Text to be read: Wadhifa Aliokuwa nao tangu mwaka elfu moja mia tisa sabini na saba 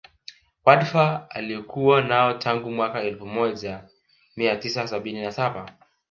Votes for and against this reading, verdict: 0, 2, rejected